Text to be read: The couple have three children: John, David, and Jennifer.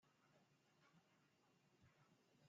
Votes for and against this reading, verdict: 0, 2, rejected